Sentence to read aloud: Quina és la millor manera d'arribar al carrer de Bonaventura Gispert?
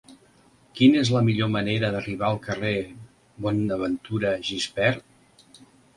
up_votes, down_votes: 0, 2